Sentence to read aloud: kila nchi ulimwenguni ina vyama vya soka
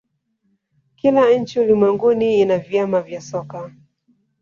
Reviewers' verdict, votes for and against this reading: rejected, 1, 2